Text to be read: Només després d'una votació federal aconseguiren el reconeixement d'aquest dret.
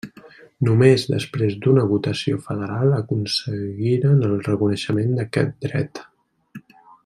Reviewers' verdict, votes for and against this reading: rejected, 1, 2